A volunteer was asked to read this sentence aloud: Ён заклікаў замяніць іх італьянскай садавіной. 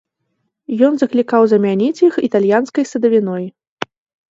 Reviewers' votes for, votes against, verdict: 2, 0, accepted